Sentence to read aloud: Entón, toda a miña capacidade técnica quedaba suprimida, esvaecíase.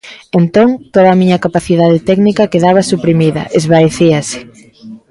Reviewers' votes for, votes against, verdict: 1, 2, rejected